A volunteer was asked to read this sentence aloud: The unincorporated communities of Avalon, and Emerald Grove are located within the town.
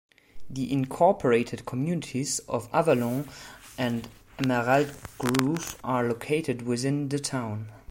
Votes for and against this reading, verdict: 2, 1, accepted